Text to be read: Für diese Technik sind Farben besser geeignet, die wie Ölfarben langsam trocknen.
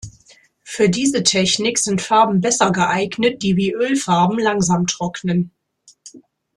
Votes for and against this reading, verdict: 2, 0, accepted